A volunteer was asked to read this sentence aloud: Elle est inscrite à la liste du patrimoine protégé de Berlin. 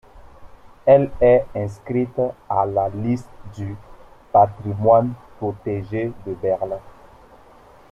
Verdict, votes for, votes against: rejected, 0, 2